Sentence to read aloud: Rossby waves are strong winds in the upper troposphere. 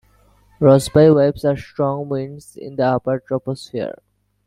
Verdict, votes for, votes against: accepted, 2, 1